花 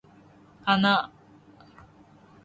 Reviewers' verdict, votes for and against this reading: accepted, 4, 1